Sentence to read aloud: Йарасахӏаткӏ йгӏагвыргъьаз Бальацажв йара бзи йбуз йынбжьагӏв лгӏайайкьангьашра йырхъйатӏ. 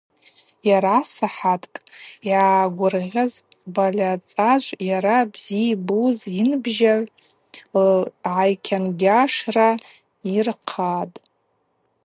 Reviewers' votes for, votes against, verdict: 0, 2, rejected